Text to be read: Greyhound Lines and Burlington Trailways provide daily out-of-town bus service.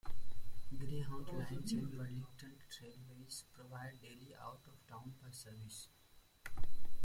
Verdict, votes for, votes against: rejected, 0, 2